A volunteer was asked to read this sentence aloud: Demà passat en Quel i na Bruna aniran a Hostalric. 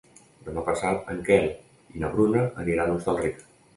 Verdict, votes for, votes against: accepted, 2, 0